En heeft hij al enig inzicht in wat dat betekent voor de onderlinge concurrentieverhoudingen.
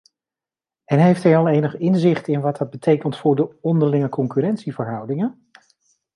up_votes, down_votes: 2, 0